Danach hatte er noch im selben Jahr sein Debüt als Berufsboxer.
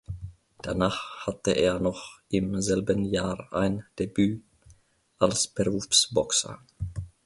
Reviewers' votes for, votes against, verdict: 1, 2, rejected